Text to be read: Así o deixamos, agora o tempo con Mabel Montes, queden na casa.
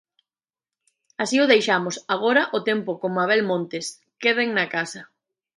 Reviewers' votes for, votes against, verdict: 2, 0, accepted